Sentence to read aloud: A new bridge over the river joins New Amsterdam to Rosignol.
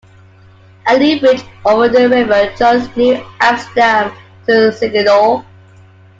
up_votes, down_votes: 2, 1